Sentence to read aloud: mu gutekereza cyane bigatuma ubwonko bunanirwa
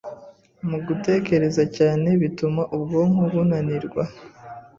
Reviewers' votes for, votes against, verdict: 2, 0, accepted